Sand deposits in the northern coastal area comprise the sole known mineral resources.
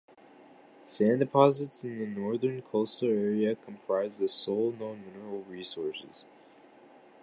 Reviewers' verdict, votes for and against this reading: accepted, 2, 0